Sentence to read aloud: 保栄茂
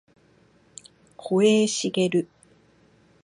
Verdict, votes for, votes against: accepted, 2, 0